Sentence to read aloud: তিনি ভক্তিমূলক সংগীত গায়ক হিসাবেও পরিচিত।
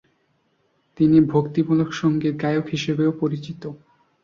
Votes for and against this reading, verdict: 6, 2, accepted